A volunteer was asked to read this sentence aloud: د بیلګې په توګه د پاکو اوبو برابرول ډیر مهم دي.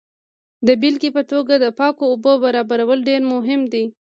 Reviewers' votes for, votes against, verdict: 2, 0, accepted